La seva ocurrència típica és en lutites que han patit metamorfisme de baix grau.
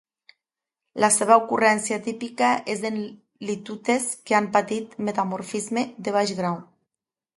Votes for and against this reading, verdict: 1, 2, rejected